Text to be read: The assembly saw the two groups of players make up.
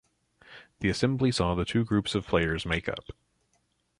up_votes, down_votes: 2, 0